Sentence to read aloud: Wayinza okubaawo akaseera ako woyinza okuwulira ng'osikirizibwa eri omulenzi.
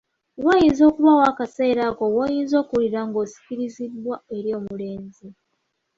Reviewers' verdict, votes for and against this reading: accepted, 2, 0